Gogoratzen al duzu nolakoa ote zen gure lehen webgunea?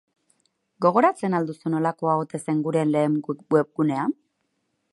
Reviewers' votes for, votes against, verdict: 4, 4, rejected